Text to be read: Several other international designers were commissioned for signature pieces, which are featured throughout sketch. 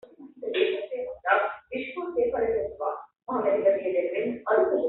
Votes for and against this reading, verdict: 0, 2, rejected